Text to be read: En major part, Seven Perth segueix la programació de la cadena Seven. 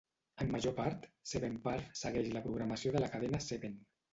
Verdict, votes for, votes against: rejected, 1, 2